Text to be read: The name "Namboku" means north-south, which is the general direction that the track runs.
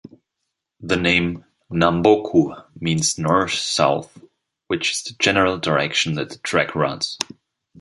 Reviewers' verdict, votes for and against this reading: rejected, 0, 2